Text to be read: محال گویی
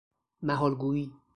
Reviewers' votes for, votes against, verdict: 2, 0, accepted